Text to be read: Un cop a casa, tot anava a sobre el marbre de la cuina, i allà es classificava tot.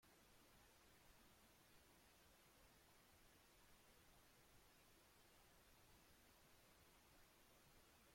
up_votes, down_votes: 0, 2